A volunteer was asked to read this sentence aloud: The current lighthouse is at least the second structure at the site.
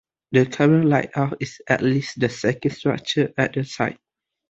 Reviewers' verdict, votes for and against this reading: rejected, 0, 2